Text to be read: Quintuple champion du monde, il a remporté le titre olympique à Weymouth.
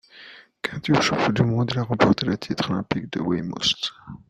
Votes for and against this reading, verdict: 1, 2, rejected